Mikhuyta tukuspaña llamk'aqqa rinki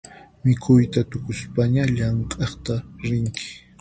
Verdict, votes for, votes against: rejected, 2, 4